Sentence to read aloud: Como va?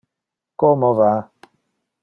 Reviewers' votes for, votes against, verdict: 2, 0, accepted